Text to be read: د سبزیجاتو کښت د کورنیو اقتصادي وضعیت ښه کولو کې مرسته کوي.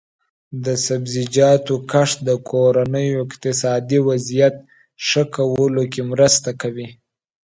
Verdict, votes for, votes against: accepted, 2, 0